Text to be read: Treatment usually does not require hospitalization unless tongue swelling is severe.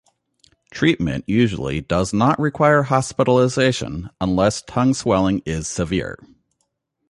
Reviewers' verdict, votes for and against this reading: accepted, 3, 0